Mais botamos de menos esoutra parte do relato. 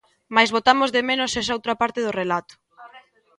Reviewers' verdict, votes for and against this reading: accepted, 2, 0